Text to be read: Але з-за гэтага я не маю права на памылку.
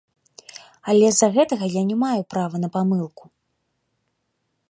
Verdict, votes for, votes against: accepted, 2, 0